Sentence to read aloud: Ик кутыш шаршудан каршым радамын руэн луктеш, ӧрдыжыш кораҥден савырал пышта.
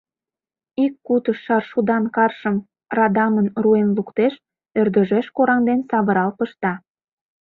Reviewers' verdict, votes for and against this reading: rejected, 1, 2